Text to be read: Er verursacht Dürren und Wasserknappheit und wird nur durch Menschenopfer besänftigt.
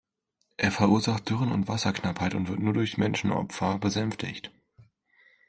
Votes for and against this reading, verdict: 2, 0, accepted